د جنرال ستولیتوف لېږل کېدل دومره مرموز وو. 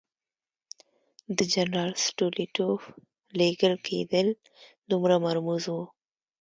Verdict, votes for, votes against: accepted, 2, 0